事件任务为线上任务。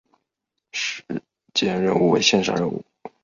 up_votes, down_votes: 0, 2